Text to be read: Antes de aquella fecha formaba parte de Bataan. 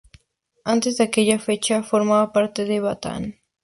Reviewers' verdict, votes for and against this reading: accepted, 2, 0